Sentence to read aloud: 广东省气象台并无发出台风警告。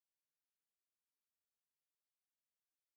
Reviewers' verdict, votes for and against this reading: rejected, 0, 3